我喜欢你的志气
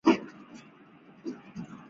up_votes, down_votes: 0, 2